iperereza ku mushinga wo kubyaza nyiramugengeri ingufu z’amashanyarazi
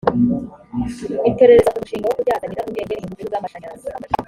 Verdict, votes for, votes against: rejected, 1, 2